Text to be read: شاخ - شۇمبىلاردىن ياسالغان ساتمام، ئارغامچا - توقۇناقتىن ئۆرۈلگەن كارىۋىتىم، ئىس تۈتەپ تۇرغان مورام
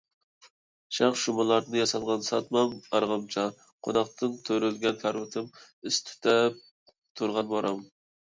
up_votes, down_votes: 0, 2